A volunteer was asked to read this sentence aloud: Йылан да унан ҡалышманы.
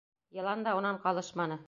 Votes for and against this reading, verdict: 2, 0, accepted